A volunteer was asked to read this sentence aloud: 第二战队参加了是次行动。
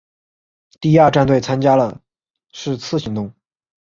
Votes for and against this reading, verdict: 4, 0, accepted